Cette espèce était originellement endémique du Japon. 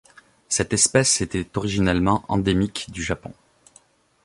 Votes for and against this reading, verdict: 2, 0, accepted